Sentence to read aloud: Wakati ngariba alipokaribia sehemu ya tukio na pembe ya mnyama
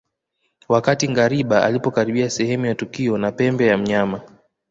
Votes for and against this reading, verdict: 2, 0, accepted